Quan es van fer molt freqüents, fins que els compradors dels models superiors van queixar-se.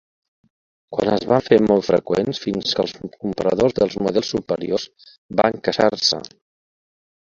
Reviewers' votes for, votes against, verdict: 0, 3, rejected